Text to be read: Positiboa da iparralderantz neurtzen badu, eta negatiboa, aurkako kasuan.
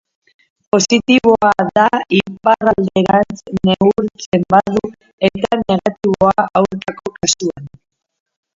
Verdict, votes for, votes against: rejected, 0, 4